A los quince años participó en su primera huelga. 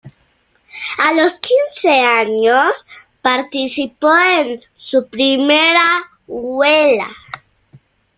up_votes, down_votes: 1, 2